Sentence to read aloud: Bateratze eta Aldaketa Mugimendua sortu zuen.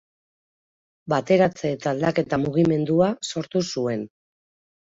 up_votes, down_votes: 2, 0